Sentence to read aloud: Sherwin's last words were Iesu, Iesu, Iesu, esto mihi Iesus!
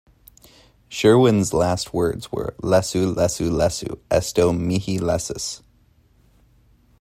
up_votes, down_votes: 1, 2